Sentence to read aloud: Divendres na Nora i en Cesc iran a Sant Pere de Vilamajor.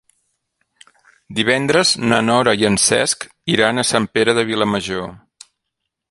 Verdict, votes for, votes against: accepted, 3, 0